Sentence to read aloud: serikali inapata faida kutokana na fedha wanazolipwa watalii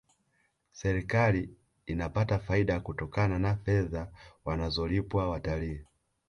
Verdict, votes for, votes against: rejected, 1, 2